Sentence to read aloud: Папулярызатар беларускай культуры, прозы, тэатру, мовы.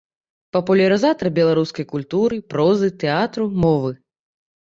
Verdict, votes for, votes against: accepted, 2, 0